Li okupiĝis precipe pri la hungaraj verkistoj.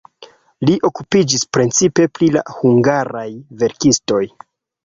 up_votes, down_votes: 1, 2